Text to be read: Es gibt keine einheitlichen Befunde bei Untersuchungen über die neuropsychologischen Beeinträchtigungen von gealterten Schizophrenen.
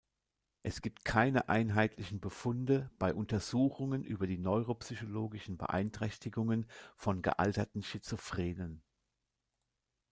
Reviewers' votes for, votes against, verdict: 2, 0, accepted